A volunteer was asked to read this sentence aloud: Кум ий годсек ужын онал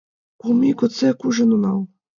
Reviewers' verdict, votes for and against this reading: accepted, 2, 1